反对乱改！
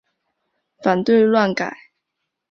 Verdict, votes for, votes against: accepted, 2, 1